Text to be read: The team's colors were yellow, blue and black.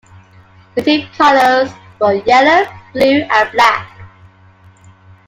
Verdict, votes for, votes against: rejected, 0, 2